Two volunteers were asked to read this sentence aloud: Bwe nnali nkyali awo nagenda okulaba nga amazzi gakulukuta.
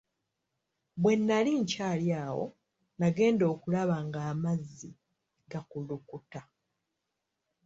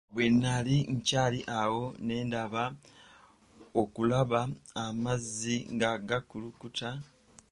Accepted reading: first